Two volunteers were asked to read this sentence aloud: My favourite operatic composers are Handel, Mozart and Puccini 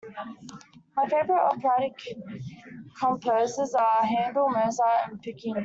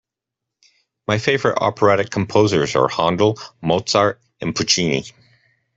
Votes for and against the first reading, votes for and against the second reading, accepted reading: 0, 2, 2, 0, second